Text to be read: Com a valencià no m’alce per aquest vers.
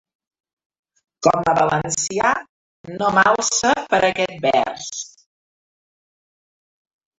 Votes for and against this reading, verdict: 0, 2, rejected